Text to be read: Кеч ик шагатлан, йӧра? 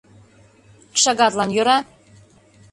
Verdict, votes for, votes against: rejected, 0, 2